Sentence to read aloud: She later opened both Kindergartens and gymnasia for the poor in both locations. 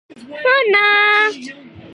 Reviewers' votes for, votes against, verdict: 0, 2, rejected